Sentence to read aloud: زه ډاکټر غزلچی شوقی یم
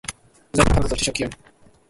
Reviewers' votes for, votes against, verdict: 0, 2, rejected